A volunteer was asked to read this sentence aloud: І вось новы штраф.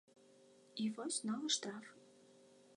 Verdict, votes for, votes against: accepted, 2, 0